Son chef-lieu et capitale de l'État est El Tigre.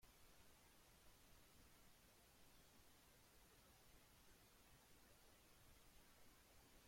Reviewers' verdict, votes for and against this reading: rejected, 0, 2